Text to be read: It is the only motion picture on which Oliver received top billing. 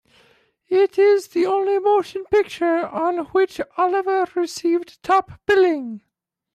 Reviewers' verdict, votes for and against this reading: rejected, 0, 2